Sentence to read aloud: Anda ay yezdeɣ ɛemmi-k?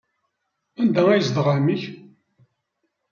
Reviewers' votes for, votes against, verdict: 2, 0, accepted